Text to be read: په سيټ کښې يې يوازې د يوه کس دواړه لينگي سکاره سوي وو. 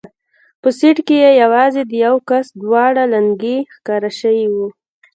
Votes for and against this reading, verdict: 1, 2, rejected